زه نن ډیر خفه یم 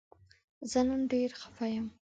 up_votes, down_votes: 2, 0